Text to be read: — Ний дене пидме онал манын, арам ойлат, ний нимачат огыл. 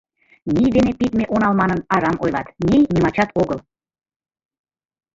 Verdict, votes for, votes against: accepted, 2, 0